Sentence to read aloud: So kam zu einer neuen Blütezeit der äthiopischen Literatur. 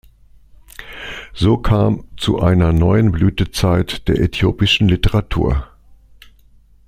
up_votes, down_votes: 2, 0